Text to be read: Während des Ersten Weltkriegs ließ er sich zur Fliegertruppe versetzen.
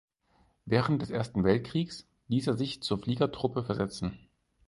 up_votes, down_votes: 4, 0